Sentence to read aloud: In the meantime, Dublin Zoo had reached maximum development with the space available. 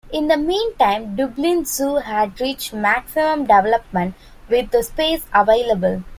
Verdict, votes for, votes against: accepted, 2, 0